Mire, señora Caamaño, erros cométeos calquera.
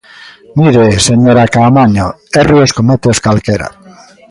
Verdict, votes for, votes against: accepted, 2, 1